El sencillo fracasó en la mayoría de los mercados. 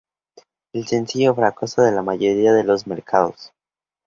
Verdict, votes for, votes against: rejected, 0, 2